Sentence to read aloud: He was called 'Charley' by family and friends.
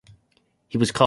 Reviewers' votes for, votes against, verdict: 0, 2, rejected